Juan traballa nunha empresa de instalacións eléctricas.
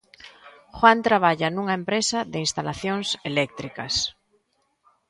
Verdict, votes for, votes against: accepted, 2, 1